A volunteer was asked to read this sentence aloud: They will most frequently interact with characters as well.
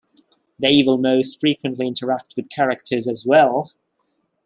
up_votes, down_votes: 2, 0